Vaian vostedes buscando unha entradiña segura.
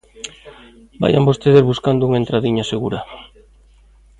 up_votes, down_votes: 2, 0